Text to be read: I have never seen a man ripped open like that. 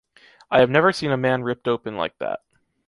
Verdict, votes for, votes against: accepted, 2, 0